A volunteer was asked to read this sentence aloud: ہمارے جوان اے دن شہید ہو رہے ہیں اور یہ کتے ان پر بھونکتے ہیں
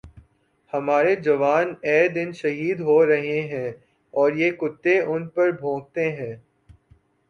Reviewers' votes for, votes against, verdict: 3, 0, accepted